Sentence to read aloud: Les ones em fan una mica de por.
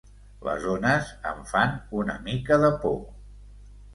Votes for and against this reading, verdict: 2, 1, accepted